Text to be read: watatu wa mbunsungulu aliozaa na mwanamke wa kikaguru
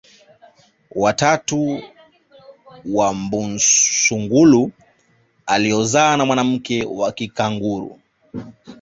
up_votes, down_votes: 1, 2